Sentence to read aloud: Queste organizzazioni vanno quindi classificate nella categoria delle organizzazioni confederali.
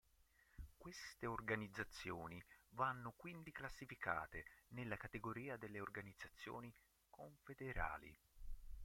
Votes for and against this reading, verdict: 1, 2, rejected